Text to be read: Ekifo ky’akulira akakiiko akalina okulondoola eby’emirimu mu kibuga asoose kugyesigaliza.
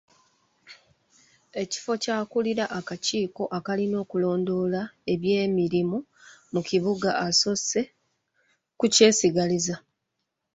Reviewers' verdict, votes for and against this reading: rejected, 1, 3